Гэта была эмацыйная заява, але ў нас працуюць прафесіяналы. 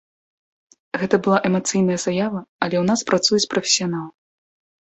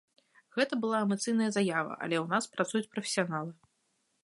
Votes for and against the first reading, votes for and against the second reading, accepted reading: 1, 3, 2, 1, second